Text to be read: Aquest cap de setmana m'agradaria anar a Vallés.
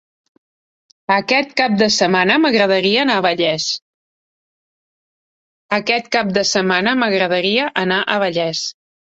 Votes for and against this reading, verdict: 1, 2, rejected